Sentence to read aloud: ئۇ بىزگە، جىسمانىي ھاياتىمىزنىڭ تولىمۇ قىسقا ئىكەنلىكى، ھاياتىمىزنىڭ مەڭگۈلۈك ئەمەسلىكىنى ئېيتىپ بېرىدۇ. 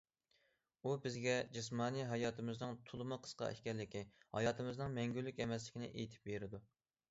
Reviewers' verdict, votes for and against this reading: accepted, 2, 0